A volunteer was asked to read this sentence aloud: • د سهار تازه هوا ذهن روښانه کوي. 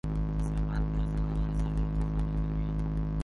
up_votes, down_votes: 0, 2